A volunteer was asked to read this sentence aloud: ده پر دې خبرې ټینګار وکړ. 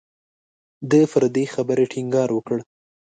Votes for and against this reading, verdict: 1, 2, rejected